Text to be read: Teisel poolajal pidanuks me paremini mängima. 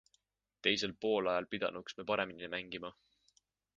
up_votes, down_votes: 2, 0